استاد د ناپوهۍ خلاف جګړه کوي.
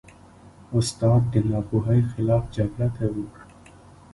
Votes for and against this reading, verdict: 1, 2, rejected